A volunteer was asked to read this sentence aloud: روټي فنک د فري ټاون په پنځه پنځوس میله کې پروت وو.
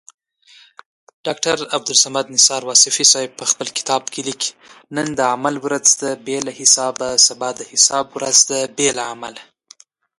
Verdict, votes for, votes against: rejected, 1, 2